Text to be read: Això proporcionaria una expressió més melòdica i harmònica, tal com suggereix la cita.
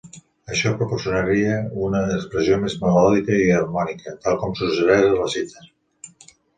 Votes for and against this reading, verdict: 1, 2, rejected